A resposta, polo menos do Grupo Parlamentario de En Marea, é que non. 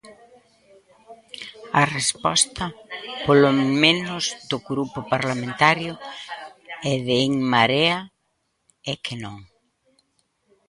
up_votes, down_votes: 0, 2